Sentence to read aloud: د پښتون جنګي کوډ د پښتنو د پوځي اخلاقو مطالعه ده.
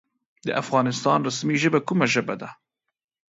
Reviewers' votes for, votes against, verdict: 0, 2, rejected